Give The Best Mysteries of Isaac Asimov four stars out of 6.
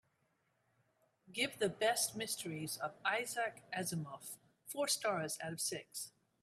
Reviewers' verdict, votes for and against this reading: rejected, 0, 2